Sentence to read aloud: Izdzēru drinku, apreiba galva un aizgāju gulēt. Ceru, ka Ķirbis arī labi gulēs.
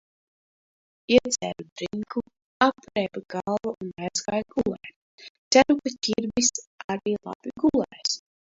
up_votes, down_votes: 0, 2